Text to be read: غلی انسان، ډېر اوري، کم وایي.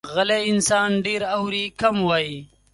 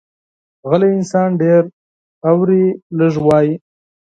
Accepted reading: first